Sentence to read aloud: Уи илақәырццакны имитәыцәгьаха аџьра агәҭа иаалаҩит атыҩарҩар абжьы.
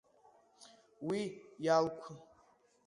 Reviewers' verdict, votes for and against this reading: rejected, 0, 2